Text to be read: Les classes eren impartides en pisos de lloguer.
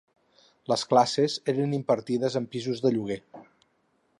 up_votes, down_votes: 4, 0